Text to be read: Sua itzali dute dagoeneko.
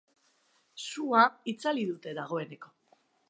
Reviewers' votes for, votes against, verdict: 2, 0, accepted